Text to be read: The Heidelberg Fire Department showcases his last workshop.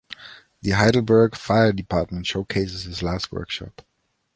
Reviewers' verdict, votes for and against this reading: accepted, 2, 0